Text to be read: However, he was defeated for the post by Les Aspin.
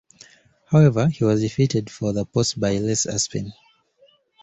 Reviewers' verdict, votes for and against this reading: accepted, 2, 0